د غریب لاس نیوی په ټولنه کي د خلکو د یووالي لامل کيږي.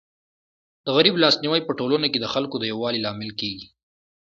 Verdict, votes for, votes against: accepted, 2, 0